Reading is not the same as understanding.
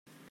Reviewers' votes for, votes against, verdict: 0, 2, rejected